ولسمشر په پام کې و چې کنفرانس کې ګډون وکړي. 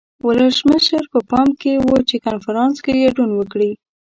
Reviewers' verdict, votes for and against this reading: rejected, 1, 2